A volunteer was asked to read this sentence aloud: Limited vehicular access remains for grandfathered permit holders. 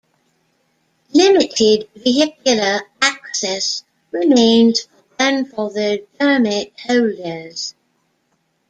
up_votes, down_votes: 1, 2